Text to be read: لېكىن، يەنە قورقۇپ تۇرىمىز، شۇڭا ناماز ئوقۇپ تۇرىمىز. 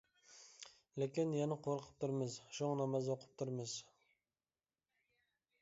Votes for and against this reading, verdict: 2, 0, accepted